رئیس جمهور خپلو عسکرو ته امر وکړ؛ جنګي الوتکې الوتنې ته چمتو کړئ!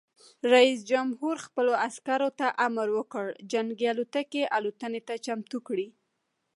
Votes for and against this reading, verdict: 1, 2, rejected